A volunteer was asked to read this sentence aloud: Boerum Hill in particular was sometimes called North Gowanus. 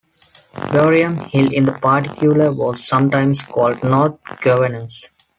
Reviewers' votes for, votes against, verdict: 1, 2, rejected